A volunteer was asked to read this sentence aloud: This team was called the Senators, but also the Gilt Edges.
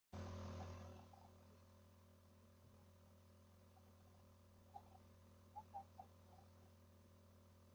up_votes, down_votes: 0, 2